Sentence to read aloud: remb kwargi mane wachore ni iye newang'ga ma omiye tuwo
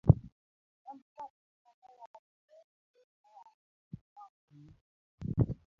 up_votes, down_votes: 1, 2